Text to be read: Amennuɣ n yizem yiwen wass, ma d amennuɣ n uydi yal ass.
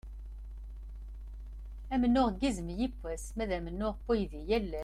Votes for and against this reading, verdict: 0, 2, rejected